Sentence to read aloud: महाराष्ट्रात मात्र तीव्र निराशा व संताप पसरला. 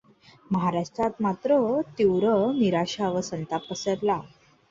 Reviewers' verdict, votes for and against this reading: accepted, 2, 0